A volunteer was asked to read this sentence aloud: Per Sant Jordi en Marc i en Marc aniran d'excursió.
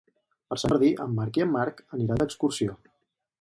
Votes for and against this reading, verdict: 2, 2, rejected